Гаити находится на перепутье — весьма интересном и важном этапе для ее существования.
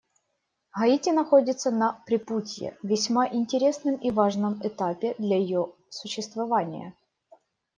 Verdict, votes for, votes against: rejected, 1, 2